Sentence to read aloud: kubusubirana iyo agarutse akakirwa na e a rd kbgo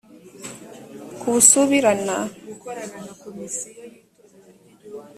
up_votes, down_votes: 0, 2